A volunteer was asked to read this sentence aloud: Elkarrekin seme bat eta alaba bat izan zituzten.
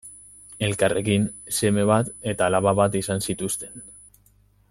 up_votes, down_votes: 2, 0